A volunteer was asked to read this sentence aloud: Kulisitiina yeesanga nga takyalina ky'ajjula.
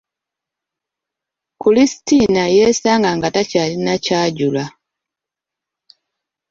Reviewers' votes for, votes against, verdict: 1, 2, rejected